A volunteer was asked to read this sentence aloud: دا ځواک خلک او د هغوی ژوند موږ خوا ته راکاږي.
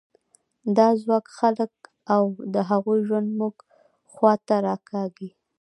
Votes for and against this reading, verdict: 2, 1, accepted